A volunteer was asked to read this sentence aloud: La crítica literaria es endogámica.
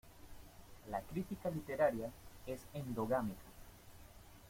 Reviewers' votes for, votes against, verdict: 0, 2, rejected